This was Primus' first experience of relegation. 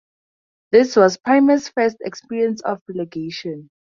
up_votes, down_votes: 2, 0